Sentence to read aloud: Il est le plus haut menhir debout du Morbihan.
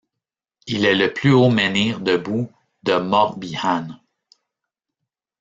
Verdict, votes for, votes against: rejected, 0, 2